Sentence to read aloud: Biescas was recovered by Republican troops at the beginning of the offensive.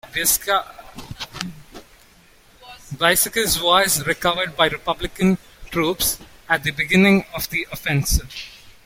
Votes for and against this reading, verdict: 0, 2, rejected